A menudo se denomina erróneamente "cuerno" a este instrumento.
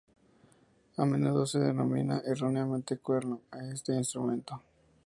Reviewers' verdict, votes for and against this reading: accepted, 2, 0